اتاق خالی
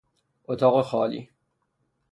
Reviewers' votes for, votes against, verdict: 3, 0, accepted